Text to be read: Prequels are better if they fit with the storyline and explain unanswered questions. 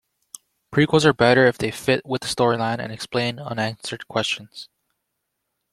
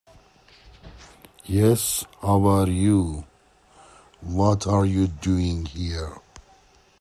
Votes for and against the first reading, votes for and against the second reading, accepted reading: 2, 0, 0, 2, first